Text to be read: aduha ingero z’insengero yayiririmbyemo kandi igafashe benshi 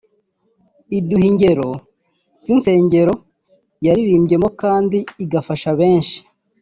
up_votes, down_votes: 1, 3